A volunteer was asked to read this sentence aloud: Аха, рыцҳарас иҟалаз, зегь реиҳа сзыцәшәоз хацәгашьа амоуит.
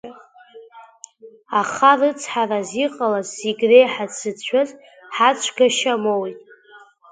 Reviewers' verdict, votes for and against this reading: rejected, 0, 2